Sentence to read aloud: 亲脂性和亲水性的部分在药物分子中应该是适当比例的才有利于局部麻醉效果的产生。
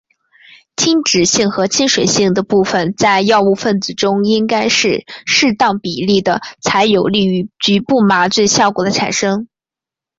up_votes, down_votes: 5, 0